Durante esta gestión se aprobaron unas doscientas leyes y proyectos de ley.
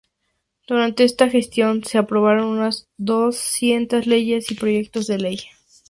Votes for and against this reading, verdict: 2, 0, accepted